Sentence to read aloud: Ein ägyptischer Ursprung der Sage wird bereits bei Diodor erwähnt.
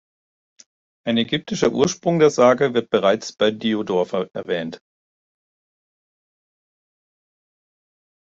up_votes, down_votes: 1, 2